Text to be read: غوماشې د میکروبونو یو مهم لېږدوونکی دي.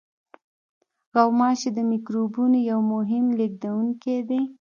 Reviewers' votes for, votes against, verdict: 1, 2, rejected